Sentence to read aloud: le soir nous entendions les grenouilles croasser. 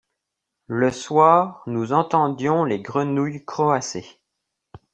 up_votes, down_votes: 2, 0